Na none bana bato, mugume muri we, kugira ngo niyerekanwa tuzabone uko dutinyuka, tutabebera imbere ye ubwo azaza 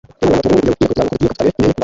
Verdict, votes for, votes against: rejected, 0, 2